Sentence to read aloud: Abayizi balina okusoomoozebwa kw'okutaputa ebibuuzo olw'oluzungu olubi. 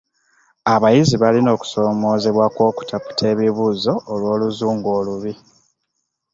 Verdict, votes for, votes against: accepted, 2, 0